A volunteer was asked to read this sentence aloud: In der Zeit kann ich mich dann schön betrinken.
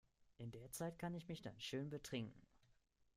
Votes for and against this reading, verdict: 2, 1, accepted